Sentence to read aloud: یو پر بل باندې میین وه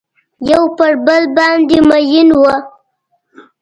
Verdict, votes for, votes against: accepted, 3, 0